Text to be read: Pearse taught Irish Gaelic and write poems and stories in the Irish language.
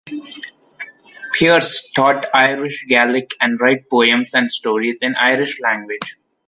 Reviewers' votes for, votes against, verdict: 0, 2, rejected